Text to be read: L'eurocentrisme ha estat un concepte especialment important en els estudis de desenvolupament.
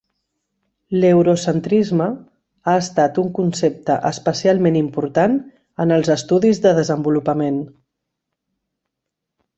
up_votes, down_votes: 3, 0